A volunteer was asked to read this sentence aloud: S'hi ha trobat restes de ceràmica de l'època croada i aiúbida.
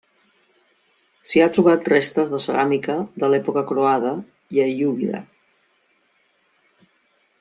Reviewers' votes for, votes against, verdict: 2, 0, accepted